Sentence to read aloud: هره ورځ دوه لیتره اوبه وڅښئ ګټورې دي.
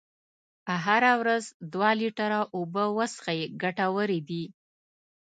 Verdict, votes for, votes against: accepted, 2, 0